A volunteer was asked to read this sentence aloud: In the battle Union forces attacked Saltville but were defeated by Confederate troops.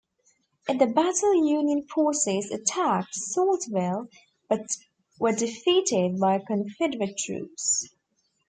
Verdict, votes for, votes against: rejected, 1, 2